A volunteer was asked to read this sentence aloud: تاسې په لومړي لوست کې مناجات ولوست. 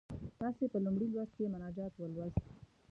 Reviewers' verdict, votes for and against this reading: rejected, 1, 2